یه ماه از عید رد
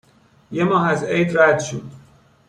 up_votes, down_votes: 0, 2